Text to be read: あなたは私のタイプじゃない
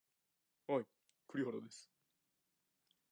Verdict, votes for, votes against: rejected, 2, 6